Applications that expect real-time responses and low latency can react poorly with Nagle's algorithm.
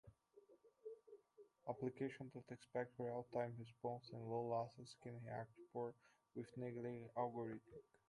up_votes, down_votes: 0, 2